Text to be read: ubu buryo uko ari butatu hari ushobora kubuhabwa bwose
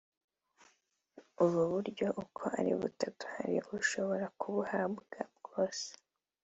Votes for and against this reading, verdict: 0, 2, rejected